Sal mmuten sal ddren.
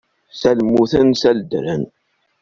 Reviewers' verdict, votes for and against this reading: rejected, 1, 2